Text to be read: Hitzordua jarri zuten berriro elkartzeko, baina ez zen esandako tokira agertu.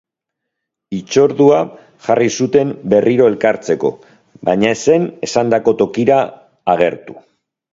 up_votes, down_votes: 2, 0